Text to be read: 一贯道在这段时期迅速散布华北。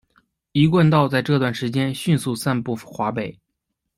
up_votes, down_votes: 0, 2